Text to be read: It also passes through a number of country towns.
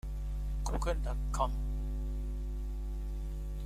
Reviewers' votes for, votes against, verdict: 0, 2, rejected